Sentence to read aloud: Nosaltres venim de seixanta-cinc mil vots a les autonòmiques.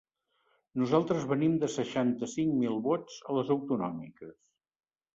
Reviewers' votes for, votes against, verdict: 3, 0, accepted